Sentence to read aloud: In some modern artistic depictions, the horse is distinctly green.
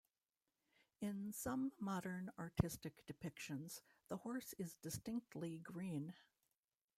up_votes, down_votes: 1, 2